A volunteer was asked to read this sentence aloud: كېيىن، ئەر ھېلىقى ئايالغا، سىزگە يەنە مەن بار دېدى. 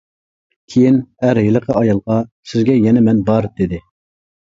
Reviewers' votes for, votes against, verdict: 2, 0, accepted